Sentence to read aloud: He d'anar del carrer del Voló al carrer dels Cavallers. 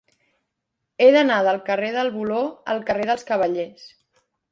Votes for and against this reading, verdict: 2, 0, accepted